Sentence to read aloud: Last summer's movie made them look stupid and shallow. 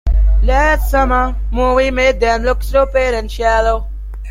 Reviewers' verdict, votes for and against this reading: rejected, 0, 2